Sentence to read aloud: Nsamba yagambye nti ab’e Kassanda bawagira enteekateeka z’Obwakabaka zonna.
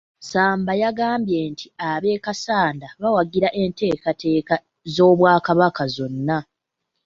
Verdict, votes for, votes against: accepted, 2, 1